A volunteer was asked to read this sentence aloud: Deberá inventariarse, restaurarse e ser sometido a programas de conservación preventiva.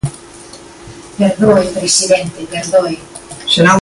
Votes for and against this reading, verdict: 0, 2, rejected